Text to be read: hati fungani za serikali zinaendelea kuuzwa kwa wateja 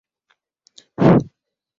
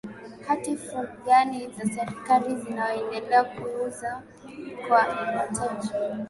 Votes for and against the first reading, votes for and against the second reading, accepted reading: 0, 11, 5, 0, second